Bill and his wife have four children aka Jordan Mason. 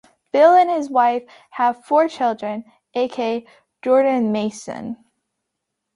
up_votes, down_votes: 2, 0